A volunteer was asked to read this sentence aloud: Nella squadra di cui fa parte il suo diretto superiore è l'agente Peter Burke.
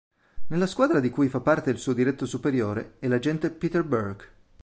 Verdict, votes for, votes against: accepted, 2, 0